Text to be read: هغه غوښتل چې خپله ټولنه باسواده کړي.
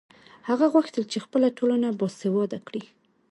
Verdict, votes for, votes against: accepted, 2, 1